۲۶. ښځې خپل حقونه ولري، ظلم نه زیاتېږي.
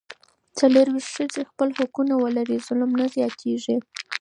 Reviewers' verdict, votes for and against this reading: rejected, 0, 2